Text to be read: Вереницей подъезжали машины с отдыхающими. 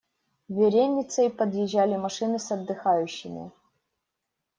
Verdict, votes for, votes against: accepted, 2, 0